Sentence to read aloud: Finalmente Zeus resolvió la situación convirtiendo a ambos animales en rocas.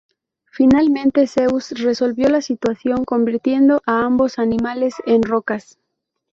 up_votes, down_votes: 2, 0